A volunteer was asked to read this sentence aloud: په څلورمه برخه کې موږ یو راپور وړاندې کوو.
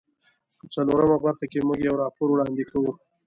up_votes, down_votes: 1, 2